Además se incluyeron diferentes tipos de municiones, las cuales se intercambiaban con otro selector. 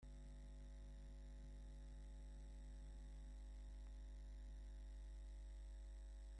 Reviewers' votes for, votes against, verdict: 0, 2, rejected